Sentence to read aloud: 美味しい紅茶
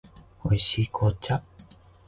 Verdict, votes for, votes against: accepted, 11, 0